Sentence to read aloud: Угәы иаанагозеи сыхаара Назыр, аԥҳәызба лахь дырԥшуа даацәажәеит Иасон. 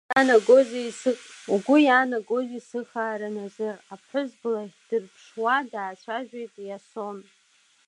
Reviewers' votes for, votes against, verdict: 2, 1, accepted